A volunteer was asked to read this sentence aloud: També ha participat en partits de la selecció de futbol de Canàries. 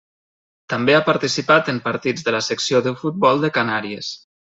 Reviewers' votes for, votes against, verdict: 0, 2, rejected